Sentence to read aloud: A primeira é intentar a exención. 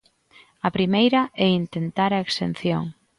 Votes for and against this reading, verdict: 2, 0, accepted